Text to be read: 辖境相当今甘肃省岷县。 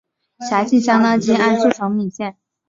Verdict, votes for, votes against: accepted, 4, 0